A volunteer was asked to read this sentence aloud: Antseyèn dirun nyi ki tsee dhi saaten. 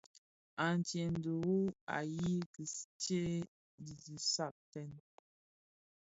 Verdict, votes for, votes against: accepted, 2, 0